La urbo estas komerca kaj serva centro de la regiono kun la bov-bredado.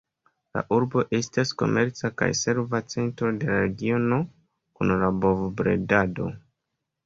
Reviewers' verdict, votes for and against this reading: accepted, 2, 0